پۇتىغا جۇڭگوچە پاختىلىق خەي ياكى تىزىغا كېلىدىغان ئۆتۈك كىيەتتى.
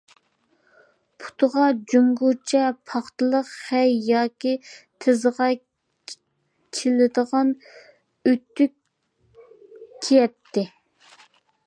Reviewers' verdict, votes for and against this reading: rejected, 0, 2